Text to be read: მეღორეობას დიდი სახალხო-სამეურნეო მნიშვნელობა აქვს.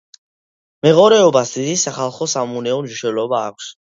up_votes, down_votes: 2, 1